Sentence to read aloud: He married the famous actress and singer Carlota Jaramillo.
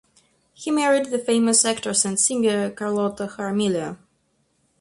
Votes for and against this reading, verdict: 0, 2, rejected